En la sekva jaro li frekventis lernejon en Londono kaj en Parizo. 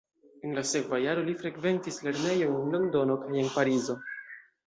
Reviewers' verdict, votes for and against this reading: accepted, 2, 0